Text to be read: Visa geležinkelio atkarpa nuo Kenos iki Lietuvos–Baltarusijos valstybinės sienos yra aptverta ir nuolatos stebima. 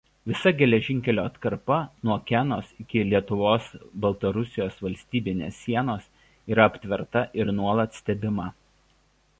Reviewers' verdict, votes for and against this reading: rejected, 1, 2